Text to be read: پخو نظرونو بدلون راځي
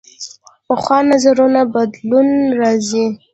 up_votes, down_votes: 0, 2